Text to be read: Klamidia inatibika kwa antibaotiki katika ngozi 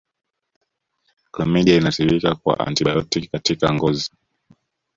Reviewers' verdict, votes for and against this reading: rejected, 0, 2